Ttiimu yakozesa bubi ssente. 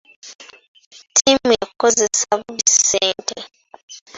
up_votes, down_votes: 2, 1